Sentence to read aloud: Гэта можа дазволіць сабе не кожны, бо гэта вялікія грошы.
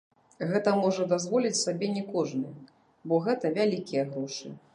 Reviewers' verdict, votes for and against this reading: rejected, 0, 2